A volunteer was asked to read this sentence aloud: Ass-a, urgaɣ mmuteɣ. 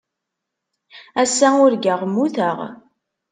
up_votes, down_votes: 3, 0